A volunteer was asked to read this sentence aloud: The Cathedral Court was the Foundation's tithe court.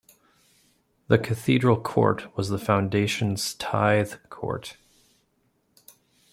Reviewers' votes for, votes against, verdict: 2, 0, accepted